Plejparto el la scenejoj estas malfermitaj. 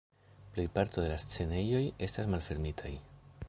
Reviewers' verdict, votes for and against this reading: rejected, 1, 2